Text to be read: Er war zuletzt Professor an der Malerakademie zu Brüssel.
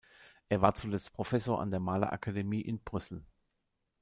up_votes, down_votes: 1, 2